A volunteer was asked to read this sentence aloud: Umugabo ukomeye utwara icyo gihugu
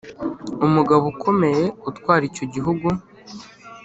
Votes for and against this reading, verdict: 2, 0, accepted